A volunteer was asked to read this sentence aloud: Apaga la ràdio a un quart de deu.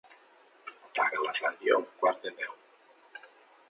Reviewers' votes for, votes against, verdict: 1, 2, rejected